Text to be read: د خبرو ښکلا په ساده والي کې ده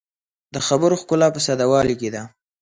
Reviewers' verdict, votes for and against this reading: accepted, 2, 0